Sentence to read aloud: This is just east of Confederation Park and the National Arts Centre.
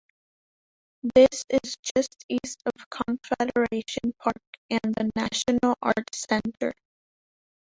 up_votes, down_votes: 0, 2